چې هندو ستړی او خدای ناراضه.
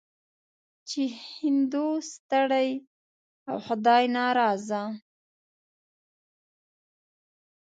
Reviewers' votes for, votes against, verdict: 2, 0, accepted